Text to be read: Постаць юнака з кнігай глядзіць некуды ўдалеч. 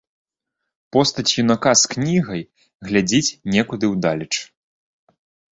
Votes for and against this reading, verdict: 2, 0, accepted